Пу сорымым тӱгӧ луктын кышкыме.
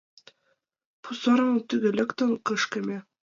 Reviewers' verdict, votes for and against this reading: rejected, 0, 2